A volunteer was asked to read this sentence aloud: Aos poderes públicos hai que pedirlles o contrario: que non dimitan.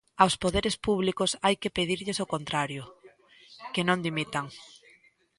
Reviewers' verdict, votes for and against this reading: accepted, 2, 1